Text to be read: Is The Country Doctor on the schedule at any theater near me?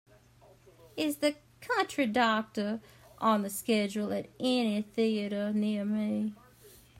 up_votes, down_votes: 2, 0